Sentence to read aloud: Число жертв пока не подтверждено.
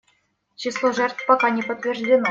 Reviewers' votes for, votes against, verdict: 0, 2, rejected